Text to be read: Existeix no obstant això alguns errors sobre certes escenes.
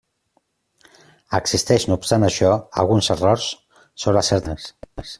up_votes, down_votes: 0, 2